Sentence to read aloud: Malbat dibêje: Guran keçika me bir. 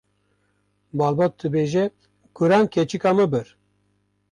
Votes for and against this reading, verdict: 1, 2, rejected